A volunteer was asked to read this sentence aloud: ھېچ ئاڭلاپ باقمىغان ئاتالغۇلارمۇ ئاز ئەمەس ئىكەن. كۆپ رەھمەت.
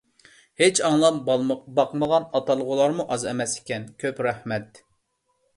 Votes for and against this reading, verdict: 0, 2, rejected